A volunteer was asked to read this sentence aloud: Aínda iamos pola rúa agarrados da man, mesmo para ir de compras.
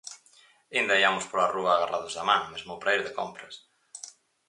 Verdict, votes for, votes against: rejected, 2, 2